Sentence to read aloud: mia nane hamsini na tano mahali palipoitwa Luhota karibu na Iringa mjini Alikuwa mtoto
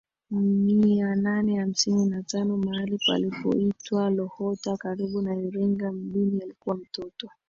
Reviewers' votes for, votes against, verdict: 2, 0, accepted